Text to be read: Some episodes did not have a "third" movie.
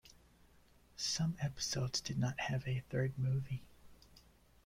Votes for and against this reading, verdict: 2, 0, accepted